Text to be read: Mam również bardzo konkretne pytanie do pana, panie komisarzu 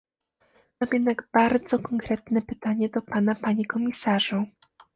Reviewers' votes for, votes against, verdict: 0, 2, rejected